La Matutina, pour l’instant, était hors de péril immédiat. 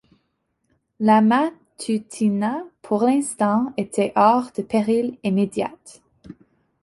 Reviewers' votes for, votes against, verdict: 2, 0, accepted